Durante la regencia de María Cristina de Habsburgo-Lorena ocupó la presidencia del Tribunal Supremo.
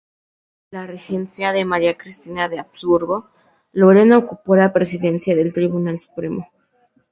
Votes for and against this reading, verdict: 0, 2, rejected